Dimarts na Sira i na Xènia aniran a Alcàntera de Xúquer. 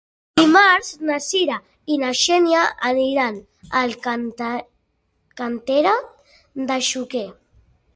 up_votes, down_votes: 1, 2